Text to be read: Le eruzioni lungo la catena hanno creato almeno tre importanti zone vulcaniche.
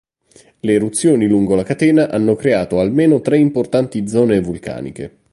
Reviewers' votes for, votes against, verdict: 2, 0, accepted